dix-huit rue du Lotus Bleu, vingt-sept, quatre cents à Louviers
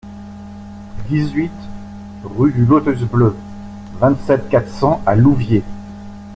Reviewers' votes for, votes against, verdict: 2, 0, accepted